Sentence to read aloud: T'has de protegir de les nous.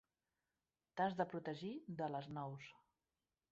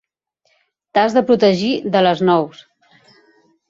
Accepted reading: second